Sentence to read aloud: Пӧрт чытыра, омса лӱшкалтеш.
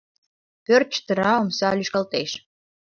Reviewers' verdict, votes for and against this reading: accepted, 2, 0